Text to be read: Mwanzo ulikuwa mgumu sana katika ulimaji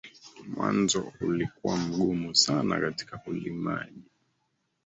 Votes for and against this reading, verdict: 1, 3, rejected